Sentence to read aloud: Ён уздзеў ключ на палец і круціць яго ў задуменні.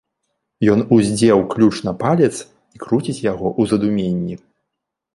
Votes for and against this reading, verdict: 0, 2, rejected